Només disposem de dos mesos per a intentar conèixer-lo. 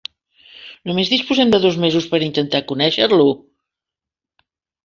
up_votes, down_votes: 3, 0